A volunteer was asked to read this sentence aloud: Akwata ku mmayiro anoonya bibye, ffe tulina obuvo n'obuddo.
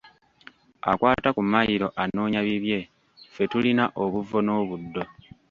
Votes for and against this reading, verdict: 1, 2, rejected